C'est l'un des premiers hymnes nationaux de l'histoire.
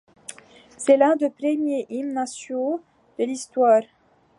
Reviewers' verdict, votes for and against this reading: rejected, 0, 2